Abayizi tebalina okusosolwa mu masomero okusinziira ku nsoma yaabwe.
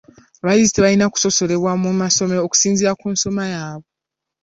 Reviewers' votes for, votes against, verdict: 2, 3, rejected